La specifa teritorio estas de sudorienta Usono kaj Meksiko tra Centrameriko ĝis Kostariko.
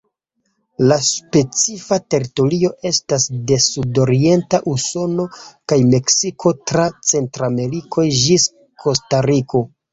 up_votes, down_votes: 2, 0